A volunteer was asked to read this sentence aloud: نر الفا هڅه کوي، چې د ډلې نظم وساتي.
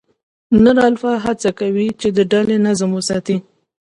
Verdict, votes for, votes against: accepted, 2, 0